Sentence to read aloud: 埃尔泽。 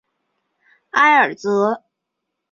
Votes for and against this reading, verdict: 2, 0, accepted